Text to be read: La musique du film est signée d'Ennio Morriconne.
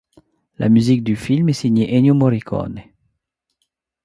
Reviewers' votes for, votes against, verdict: 2, 1, accepted